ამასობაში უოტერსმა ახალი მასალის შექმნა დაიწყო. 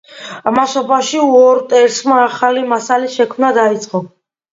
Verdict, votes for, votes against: accepted, 2, 0